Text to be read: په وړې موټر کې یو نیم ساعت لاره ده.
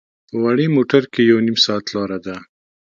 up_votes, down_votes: 2, 0